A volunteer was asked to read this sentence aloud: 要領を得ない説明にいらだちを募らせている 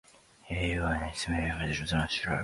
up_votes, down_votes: 0, 3